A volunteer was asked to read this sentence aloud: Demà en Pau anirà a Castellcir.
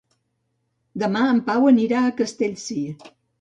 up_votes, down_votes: 2, 0